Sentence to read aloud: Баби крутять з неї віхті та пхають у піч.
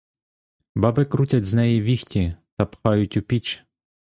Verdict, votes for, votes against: accepted, 2, 0